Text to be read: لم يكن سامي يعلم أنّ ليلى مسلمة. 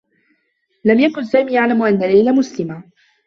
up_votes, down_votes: 2, 1